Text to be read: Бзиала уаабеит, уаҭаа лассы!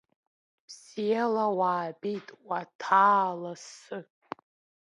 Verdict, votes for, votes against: accepted, 2, 0